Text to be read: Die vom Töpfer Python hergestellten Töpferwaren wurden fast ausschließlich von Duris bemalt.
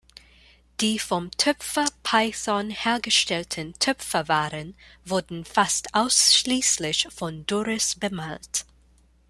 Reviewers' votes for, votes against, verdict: 1, 2, rejected